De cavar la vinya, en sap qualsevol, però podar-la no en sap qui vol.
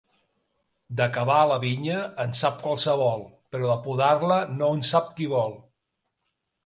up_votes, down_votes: 2, 1